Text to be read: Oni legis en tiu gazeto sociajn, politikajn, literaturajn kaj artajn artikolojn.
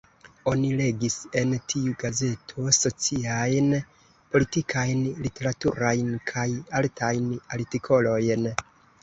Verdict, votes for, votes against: rejected, 0, 2